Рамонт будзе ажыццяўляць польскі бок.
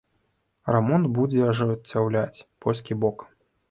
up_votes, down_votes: 0, 2